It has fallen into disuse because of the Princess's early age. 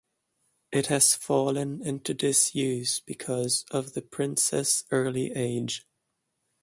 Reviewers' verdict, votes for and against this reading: rejected, 1, 2